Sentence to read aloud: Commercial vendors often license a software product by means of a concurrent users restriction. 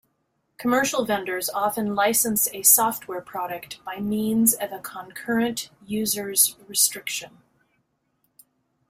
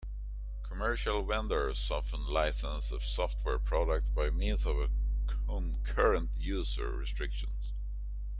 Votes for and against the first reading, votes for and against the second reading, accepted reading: 2, 0, 1, 2, first